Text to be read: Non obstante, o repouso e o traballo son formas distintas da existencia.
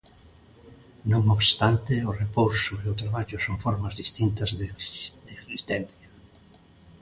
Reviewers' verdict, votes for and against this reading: rejected, 0, 2